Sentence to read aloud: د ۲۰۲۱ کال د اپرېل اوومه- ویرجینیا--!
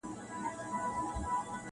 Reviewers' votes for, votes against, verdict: 0, 2, rejected